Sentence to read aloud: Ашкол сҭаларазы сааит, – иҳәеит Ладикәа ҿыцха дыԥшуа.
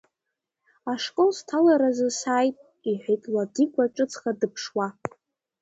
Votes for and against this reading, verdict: 1, 2, rejected